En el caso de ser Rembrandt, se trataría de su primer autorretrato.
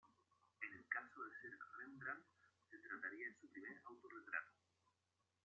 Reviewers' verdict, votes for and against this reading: rejected, 0, 2